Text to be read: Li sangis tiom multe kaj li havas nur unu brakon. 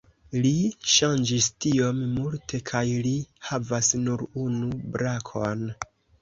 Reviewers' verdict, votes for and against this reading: rejected, 1, 2